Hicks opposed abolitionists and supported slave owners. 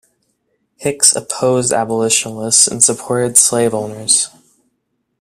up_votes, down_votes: 2, 0